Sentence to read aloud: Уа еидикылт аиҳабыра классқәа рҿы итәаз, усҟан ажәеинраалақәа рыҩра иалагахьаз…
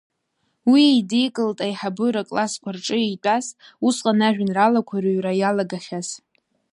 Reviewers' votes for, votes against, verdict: 1, 2, rejected